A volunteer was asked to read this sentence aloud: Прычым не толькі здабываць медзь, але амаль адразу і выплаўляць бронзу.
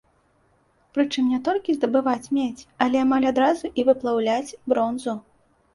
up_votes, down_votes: 2, 0